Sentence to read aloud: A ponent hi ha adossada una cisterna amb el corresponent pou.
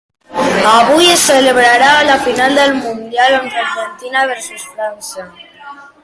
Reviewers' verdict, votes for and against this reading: rejected, 0, 3